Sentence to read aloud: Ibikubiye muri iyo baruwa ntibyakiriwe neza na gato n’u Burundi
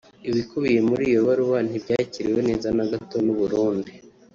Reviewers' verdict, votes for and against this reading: rejected, 1, 2